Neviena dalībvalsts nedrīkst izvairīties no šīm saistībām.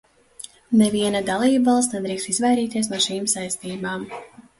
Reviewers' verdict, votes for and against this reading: accepted, 2, 1